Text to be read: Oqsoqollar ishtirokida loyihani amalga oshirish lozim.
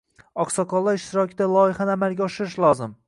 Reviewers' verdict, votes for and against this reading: accepted, 2, 1